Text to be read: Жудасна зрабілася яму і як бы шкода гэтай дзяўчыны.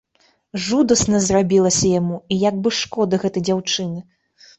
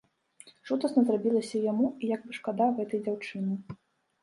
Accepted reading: first